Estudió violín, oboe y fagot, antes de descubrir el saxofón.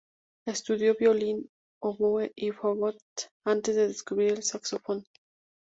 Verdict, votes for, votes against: accepted, 2, 0